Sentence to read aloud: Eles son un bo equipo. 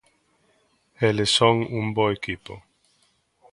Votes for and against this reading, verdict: 2, 0, accepted